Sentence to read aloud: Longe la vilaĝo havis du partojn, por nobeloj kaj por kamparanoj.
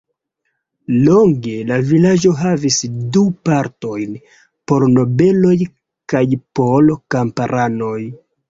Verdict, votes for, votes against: accepted, 2, 1